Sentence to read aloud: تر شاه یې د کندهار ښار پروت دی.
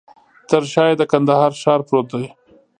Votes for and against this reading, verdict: 1, 2, rejected